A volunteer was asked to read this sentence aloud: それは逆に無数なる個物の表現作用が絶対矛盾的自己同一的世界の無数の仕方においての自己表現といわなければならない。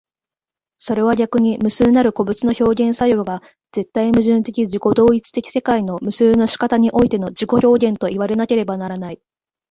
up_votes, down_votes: 1, 2